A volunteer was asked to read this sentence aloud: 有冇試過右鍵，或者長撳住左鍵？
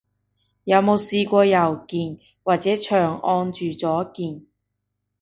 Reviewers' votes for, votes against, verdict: 1, 2, rejected